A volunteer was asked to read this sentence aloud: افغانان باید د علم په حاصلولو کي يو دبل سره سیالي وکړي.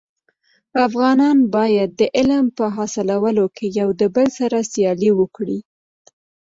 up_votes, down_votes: 2, 1